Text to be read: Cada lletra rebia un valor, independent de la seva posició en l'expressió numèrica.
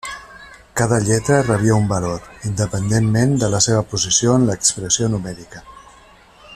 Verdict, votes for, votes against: rejected, 0, 2